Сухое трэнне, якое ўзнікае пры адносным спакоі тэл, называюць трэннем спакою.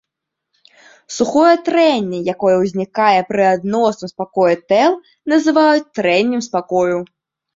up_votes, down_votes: 2, 1